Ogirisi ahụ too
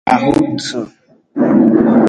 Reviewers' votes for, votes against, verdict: 0, 2, rejected